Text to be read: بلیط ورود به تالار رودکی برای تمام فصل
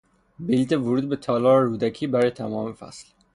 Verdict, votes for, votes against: rejected, 3, 3